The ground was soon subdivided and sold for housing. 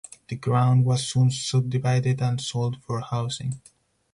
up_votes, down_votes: 4, 0